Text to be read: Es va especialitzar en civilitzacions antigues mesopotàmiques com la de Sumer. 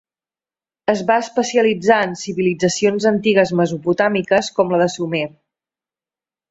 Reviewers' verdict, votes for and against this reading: accepted, 3, 0